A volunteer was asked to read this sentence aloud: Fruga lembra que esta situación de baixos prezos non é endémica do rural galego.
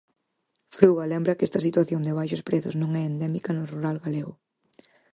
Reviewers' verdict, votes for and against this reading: accepted, 4, 0